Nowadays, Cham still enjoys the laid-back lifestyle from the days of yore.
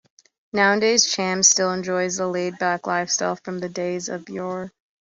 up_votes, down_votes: 2, 0